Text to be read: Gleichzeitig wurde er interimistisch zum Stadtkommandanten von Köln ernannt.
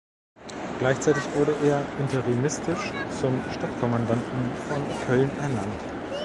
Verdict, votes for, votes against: rejected, 1, 2